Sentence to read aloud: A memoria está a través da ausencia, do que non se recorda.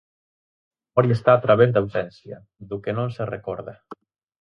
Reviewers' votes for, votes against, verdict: 0, 4, rejected